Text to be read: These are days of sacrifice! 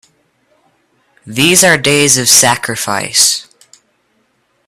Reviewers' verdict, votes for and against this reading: accepted, 2, 0